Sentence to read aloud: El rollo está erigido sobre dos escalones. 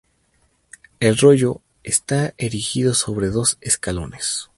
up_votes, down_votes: 2, 0